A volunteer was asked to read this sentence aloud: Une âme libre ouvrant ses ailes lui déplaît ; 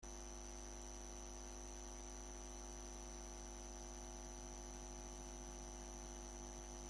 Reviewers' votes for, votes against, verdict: 0, 2, rejected